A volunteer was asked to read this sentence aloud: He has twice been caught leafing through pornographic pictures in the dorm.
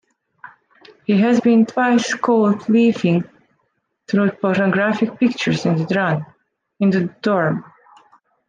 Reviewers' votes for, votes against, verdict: 1, 2, rejected